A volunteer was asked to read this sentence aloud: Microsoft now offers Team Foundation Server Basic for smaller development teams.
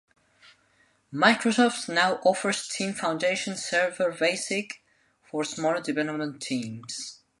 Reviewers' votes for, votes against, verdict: 3, 0, accepted